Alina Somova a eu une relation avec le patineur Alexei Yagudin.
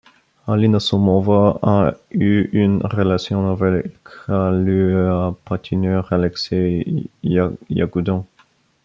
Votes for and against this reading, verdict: 0, 2, rejected